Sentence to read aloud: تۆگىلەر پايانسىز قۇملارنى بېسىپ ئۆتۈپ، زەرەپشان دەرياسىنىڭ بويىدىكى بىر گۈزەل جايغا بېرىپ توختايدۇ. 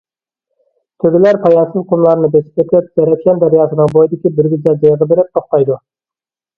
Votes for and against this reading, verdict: 0, 2, rejected